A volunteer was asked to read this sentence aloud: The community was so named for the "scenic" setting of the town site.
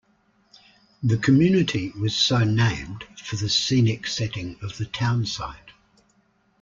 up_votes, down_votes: 2, 0